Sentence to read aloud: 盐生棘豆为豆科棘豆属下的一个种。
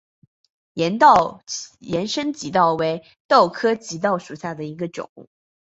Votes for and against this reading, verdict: 1, 2, rejected